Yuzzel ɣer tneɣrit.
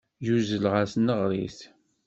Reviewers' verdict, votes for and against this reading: accepted, 2, 0